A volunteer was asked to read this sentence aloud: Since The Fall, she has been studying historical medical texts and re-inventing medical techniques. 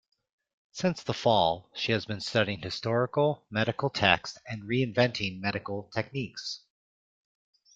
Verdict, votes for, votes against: accepted, 2, 0